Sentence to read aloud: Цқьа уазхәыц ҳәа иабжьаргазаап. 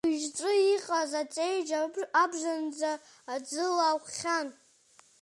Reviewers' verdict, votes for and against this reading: rejected, 1, 2